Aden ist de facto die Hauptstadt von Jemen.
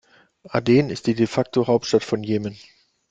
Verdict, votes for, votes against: rejected, 0, 2